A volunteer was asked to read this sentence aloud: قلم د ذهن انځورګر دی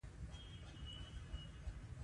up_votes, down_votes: 0, 2